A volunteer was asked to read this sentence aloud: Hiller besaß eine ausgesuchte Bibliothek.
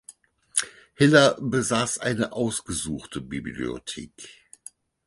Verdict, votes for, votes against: accepted, 4, 0